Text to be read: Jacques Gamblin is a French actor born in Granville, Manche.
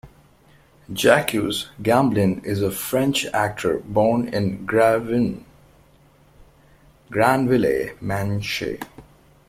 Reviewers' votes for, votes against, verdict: 0, 2, rejected